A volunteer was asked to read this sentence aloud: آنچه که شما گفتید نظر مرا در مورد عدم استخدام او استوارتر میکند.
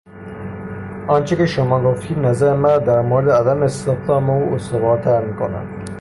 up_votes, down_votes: 3, 0